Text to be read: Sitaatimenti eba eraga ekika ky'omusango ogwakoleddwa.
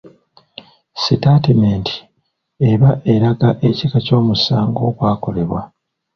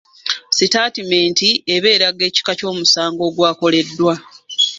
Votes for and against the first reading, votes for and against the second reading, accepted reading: 0, 2, 2, 1, second